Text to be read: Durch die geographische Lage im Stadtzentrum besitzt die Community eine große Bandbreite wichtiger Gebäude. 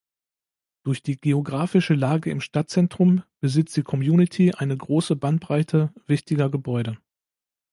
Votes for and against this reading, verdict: 3, 0, accepted